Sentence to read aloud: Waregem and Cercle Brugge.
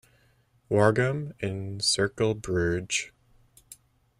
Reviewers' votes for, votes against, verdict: 2, 0, accepted